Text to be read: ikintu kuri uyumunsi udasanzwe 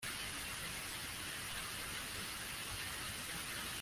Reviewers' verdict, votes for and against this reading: rejected, 0, 2